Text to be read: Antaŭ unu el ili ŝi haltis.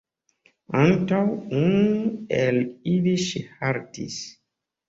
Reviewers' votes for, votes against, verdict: 2, 1, accepted